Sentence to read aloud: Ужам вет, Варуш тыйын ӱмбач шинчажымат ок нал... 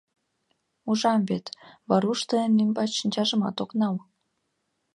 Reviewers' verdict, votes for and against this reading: accepted, 2, 0